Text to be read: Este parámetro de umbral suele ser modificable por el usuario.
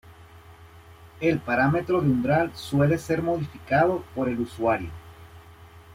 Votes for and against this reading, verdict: 1, 2, rejected